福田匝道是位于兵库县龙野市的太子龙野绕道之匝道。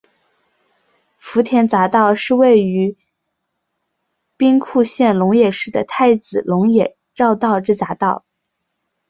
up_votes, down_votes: 0, 2